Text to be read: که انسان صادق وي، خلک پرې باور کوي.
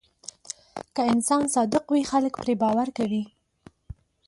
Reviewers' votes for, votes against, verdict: 2, 0, accepted